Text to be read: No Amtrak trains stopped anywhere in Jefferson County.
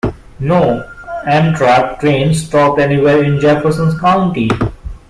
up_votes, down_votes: 0, 2